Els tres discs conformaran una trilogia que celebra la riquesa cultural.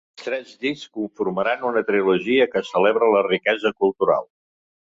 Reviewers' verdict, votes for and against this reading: rejected, 0, 2